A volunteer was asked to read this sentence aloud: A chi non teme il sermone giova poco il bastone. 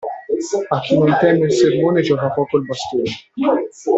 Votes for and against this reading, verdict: 0, 2, rejected